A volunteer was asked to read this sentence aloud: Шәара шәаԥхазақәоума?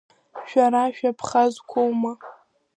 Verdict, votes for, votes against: rejected, 0, 2